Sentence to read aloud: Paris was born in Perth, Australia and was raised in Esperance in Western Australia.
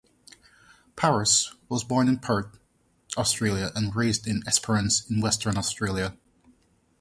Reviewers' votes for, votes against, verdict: 0, 2, rejected